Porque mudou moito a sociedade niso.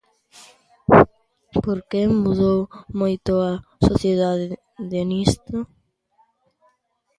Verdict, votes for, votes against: rejected, 0, 2